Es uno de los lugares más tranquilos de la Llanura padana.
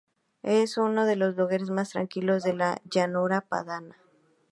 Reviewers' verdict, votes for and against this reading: rejected, 2, 2